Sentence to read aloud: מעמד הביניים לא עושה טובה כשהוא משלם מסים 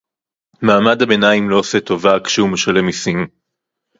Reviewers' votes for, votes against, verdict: 2, 2, rejected